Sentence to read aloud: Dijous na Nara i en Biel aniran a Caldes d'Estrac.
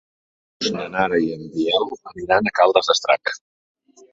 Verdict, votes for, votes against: rejected, 0, 3